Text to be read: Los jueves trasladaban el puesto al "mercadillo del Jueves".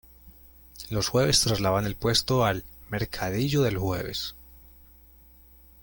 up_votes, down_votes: 0, 2